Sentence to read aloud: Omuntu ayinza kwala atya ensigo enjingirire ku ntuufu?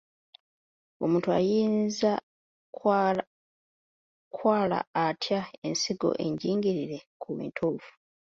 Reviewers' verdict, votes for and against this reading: rejected, 1, 2